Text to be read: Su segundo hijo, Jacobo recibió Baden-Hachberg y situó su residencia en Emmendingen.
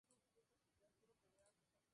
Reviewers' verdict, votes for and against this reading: rejected, 0, 2